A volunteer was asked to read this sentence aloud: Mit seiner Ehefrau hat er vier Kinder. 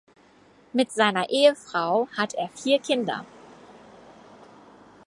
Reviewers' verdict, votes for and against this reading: accepted, 4, 0